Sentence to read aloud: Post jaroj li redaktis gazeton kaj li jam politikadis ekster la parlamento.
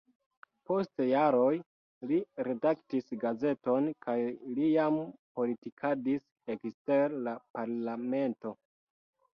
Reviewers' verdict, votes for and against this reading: accepted, 2, 0